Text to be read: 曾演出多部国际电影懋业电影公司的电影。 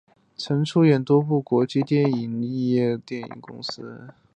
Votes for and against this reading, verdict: 0, 2, rejected